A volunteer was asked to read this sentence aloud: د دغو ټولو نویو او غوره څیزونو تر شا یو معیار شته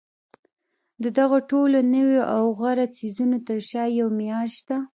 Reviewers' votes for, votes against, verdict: 2, 0, accepted